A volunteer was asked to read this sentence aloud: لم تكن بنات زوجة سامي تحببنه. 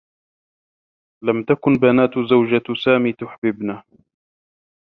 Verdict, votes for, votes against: rejected, 1, 2